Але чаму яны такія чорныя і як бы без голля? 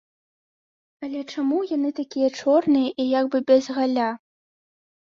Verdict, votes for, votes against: rejected, 0, 3